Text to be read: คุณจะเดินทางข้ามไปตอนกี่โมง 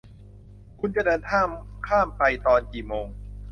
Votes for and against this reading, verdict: 0, 2, rejected